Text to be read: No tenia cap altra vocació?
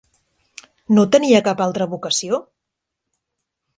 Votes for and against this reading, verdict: 3, 0, accepted